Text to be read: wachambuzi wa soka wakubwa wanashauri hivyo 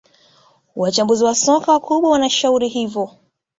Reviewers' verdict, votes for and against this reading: accepted, 2, 0